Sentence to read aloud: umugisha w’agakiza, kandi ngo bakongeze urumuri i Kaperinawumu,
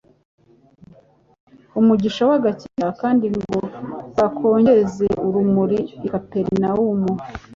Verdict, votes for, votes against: accepted, 3, 1